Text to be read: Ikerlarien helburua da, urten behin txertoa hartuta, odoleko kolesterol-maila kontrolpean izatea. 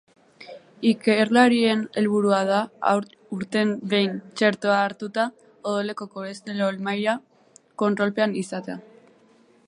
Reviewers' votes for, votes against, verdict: 2, 0, accepted